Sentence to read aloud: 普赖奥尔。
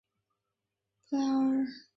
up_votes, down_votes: 0, 3